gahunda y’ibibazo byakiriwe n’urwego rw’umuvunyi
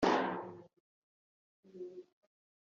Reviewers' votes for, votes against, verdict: 0, 3, rejected